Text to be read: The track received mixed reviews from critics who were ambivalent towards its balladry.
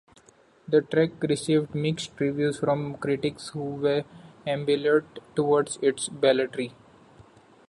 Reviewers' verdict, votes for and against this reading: rejected, 0, 2